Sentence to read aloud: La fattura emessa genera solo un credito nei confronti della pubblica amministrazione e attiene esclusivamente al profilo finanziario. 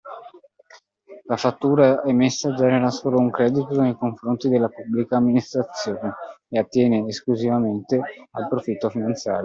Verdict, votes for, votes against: rejected, 0, 2